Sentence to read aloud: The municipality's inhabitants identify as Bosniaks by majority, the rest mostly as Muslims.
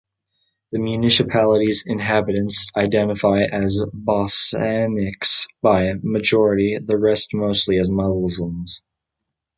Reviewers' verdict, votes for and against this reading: rejected, 0, 3